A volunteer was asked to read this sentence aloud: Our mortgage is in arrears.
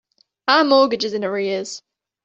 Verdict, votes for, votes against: accepted, 2, 0